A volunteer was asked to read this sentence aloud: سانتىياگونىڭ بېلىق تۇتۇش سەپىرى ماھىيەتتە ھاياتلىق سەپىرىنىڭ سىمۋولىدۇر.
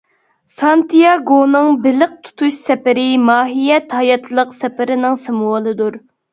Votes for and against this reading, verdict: 0, 2, rejected